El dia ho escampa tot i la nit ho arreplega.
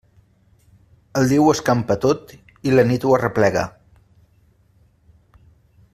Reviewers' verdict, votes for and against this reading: accepted, 2, 0